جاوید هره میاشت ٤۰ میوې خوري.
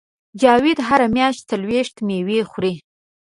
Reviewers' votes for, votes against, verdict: 0, 2, rejected